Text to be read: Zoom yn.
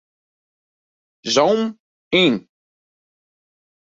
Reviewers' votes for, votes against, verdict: 0, 2, rejected